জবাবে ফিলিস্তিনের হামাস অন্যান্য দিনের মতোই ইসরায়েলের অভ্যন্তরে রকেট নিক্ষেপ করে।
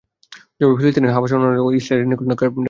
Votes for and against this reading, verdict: 0, 2, rejected